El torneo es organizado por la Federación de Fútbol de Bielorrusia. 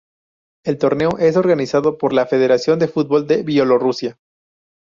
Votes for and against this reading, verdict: 2, 0, accepted